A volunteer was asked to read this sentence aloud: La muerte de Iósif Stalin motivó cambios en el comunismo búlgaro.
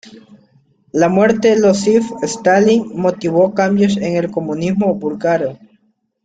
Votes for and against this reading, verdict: 0, 2, rejected